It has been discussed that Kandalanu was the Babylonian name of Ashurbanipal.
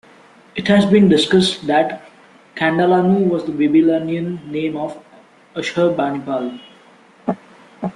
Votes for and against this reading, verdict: 1, 2, rejected